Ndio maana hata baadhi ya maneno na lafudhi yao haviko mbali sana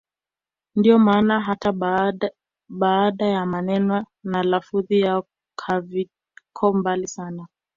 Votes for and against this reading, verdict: 0, 2, rejected